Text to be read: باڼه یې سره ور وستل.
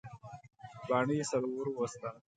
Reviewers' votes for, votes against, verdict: 0, 2, rejected